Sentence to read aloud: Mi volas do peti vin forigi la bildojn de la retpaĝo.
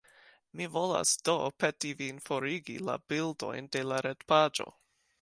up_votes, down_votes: 2, 0